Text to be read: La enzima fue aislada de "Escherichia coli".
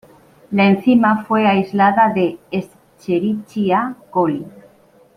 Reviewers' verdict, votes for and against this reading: accepted, 2, 0